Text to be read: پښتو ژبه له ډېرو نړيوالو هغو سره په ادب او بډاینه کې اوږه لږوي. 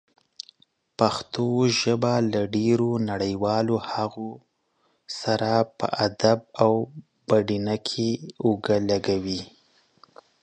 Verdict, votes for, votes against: rejected, 1, 2